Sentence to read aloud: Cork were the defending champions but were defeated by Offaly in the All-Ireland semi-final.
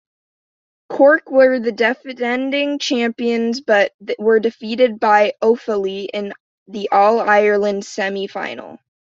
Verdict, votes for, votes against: rejected, 1, 2